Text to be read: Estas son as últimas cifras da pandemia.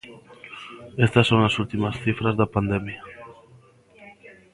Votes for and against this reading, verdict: 0, 2, rejected